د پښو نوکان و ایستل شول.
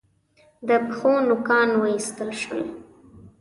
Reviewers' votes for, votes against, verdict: 2, 0, accepted